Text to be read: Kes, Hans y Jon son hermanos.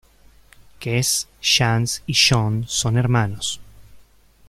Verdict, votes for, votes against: rejected, 0, 2